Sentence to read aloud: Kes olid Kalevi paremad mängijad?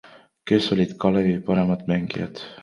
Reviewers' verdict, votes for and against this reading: accepted, 2, 0